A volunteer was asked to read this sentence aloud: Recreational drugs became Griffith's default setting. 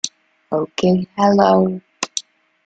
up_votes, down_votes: 0, 2